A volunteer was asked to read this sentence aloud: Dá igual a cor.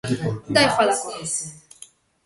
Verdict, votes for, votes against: rejected, 1, 2